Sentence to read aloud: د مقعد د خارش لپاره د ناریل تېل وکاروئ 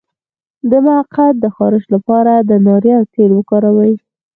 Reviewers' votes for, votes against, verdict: 4, 2, accepted